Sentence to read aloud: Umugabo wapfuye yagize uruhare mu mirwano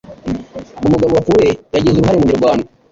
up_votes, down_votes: 1, 2